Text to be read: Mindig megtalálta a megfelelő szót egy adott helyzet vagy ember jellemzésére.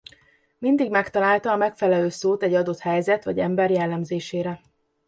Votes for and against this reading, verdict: 2, 0, accepted